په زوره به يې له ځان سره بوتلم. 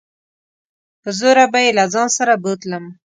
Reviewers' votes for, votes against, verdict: 2, 0, accepted